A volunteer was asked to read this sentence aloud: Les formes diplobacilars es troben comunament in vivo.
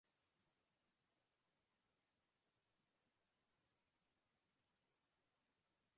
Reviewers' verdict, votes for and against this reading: rejected, 0, 3